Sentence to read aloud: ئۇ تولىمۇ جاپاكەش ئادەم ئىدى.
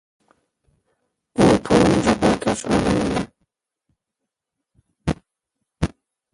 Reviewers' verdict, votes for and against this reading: rejected, 1, 2